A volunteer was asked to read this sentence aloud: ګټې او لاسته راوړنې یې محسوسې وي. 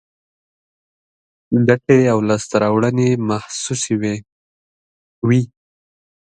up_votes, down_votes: 1, 2